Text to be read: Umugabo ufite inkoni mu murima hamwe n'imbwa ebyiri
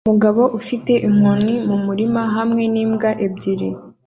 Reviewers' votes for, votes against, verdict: 2, 0, accepted